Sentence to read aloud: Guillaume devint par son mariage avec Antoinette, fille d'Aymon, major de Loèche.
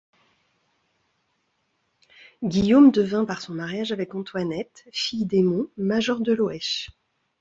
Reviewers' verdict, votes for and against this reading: accepted, 2, 0